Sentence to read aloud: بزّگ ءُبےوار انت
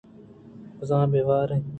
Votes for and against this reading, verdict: 2, 0, accepted